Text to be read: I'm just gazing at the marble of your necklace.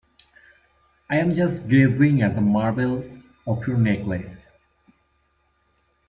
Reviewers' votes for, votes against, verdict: 0, 2, rejected